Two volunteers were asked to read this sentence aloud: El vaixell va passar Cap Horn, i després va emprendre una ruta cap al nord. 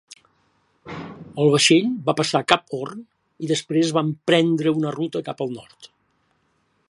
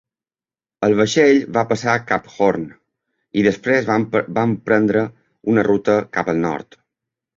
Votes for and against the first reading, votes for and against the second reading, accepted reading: 5, 0, 1, 2, first